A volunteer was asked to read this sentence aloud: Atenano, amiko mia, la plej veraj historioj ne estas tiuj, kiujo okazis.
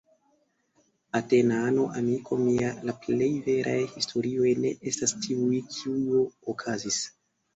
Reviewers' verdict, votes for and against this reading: accepted, 2, 0